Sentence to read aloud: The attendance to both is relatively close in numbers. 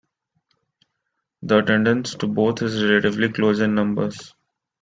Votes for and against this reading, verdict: 2, 1, accepted